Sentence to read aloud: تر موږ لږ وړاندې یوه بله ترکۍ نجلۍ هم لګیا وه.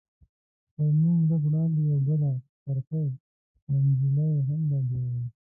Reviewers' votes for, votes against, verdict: 1, 2, rejected